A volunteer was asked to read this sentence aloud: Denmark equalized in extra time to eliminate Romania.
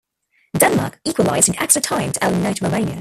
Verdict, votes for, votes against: rejected, 0, 2